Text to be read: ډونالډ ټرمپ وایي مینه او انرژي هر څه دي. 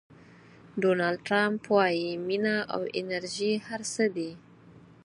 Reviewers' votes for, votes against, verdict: 4, 0, accepted